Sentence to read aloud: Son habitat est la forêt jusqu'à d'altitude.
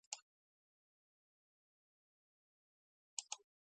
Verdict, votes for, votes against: rejected, 0, 2